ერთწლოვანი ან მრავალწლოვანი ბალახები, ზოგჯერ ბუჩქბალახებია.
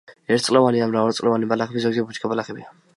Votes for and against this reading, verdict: 1, 2, rejected